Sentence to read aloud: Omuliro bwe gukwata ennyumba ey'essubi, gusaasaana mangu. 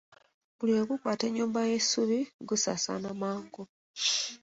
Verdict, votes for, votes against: accepted, 2, 1